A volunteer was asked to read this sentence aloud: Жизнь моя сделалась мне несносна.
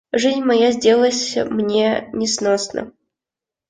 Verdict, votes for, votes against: rejected, 0, 2